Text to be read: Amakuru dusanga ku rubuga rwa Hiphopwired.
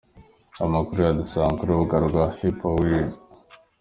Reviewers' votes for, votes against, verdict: 2, 0, accepted